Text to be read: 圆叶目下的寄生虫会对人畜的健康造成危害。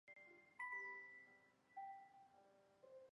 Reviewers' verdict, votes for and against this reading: rejected, 1, 3